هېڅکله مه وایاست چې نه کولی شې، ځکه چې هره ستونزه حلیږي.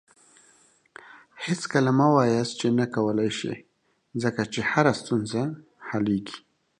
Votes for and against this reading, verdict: 0, 2, rejected